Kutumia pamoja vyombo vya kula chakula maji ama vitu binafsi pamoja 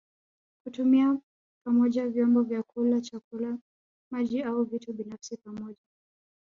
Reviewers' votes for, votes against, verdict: 1, 2, rejected